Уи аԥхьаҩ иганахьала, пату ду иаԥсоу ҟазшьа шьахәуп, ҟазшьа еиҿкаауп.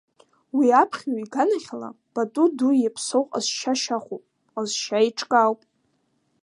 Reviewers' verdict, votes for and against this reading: rejected, 1, 2